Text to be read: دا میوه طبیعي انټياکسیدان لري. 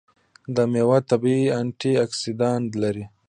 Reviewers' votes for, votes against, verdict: 1, 2, rejected